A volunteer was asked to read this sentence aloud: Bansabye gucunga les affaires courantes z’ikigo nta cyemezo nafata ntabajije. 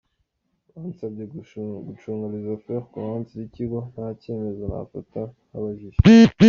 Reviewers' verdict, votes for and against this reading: accepted, 2, 1